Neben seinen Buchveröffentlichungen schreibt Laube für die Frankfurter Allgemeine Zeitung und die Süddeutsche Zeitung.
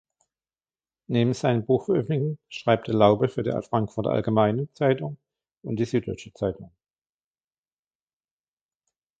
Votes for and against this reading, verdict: 0, 3, rejected